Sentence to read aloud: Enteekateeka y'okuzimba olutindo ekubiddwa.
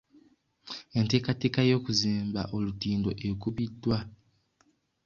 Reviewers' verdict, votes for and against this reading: accepted, 2, 0